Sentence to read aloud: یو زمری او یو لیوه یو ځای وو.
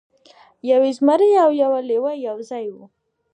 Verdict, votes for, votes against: accepted, 2, 1